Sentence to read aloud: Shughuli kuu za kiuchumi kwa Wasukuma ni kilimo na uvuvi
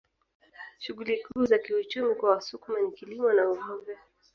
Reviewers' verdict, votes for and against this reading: accepted, 2, 1